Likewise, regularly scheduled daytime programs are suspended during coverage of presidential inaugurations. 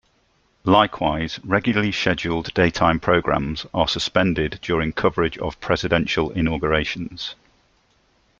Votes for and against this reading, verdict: 2, 0, accepted